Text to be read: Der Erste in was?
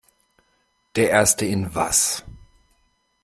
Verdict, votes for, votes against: accepted, 2, 0